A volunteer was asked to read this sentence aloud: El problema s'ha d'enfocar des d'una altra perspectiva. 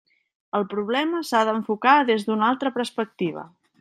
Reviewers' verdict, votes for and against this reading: rejected, 0, 2